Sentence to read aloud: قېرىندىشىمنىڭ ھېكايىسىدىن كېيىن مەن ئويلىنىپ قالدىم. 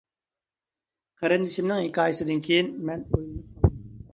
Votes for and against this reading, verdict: 0, 2, rejected